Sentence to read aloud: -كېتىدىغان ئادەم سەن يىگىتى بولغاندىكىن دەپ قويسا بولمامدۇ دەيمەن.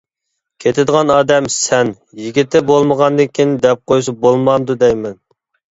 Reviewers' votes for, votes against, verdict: 1, 2, rejected